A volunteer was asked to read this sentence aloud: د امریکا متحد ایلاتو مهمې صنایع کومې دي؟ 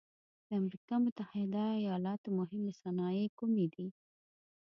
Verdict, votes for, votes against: accepted, 2, 0